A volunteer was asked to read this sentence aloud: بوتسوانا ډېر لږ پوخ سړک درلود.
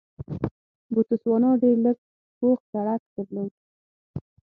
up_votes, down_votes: 0, 6